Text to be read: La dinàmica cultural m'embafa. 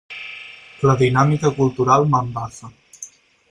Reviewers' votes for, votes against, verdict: 2, 4, rejected